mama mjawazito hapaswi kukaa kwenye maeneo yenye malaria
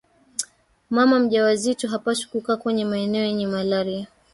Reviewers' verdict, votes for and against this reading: rejected, 1, 3